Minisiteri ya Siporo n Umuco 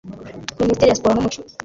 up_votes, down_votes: 1, 2